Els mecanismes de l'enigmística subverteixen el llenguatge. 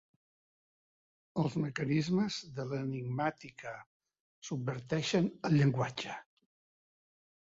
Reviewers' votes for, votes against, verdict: 0, 2, rejected